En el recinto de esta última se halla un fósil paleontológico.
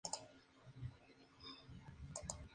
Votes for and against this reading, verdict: 0, 2, rejected